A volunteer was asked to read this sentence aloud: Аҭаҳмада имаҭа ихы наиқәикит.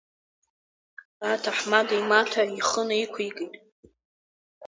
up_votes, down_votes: 9, 0